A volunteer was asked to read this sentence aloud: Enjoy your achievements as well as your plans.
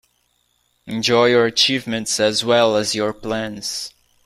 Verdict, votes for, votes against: accepted, 2, 0